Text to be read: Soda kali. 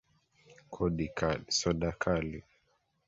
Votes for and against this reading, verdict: 2, 3, rejected